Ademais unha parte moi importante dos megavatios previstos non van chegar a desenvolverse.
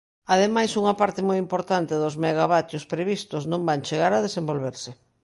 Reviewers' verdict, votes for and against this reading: accepted, 2, 1